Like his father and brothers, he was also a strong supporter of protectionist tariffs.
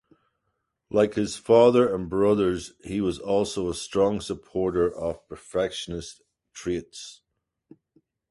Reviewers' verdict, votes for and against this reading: rejected, 0, 2